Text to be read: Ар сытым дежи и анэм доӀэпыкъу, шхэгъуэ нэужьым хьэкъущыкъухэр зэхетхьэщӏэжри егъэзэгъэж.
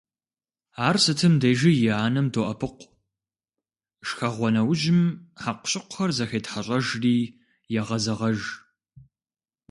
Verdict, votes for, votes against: accepted, 2, 0